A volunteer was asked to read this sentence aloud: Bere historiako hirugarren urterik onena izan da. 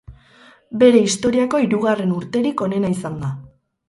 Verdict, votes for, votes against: accepted, 4, 0